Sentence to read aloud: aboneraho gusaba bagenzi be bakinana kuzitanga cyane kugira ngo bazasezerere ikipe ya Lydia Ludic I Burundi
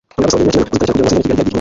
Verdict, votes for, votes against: rejected, 0, 2